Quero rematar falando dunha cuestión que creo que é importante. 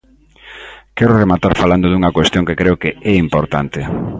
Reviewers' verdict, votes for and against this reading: accepted, 3, 0